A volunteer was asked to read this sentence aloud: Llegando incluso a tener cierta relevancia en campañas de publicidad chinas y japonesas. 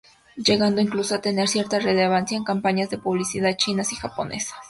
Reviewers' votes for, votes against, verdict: 2, 0, accepted